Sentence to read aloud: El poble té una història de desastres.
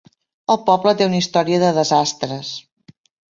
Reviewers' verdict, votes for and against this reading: accepted, 3, 0